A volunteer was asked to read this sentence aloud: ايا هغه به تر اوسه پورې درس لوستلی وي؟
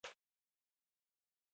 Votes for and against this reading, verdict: 1, 2, rejected